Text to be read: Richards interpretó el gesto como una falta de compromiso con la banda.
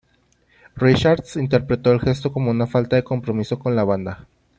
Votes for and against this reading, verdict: 2, 0, accepted